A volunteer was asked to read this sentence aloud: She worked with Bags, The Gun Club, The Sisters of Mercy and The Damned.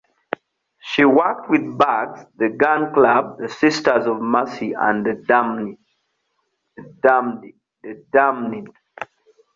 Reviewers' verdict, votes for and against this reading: rejected, 0, 2